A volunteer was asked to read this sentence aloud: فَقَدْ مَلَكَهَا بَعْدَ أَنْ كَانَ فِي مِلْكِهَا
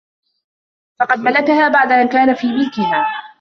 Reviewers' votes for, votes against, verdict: 2, 0, accepted